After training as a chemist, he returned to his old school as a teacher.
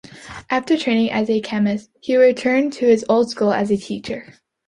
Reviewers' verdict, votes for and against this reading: accepted, 2, 0